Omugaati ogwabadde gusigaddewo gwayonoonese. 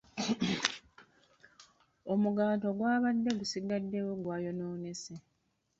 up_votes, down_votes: 0, 2